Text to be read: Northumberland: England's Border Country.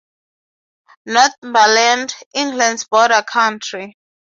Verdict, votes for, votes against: accepted, 6, 0